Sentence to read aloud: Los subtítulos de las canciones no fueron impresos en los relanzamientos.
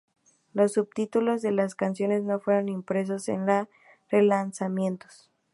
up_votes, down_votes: 2, 0